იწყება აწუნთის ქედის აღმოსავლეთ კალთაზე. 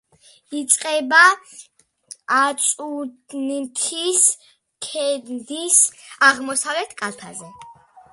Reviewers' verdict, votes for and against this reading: rejected, 0, 2